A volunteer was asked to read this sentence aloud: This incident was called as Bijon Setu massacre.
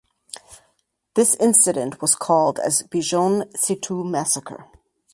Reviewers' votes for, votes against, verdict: 4, 0, accepted